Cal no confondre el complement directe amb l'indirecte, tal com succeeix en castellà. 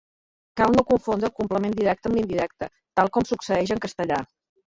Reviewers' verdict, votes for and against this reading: rejected, 0, 2